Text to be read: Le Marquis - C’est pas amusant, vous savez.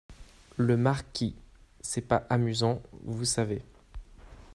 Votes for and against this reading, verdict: 2, 0, accepted